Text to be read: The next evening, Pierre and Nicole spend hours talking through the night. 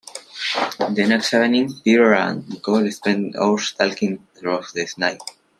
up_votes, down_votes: 1, 2